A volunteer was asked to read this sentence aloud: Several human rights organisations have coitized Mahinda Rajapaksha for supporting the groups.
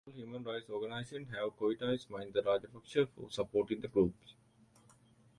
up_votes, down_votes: 0, 2